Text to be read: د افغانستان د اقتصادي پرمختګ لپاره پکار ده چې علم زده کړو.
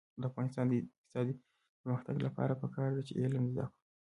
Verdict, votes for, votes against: rejected, 0, 2